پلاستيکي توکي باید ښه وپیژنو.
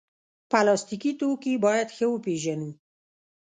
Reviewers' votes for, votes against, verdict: 1, 2, rejected